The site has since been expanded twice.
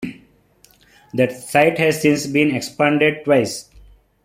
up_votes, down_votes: 2, 1